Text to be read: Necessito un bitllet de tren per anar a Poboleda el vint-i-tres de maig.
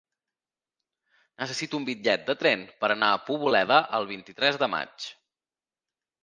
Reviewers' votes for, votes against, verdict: 3, 0, accepted